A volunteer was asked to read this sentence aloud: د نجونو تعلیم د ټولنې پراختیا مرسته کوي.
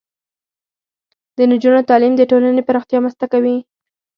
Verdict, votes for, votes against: accepted, 6, 2